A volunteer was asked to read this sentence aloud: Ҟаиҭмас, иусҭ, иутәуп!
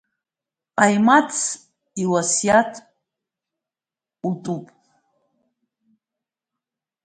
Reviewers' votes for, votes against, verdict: 0, 3, rejected